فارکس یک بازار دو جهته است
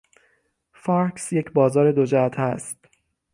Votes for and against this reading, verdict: 3, 6, rejected